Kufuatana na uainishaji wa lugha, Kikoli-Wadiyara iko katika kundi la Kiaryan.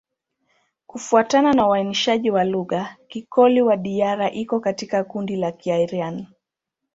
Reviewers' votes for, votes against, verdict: 2, 0, accepted